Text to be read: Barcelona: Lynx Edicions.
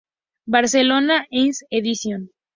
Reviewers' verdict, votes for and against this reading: accepted, 2, 0